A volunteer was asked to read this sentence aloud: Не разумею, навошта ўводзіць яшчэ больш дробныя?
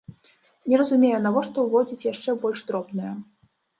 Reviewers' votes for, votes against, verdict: 2, 0, accepted